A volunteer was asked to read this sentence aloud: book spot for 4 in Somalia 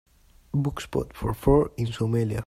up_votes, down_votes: 0, 2